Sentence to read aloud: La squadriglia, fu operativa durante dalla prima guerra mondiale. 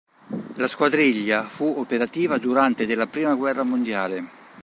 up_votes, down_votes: 2, 3